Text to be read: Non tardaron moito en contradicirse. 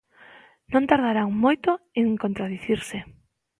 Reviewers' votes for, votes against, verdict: 0, 2, rejected